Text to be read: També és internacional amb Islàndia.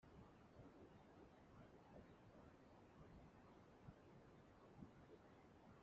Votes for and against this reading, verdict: 0, 2, rejected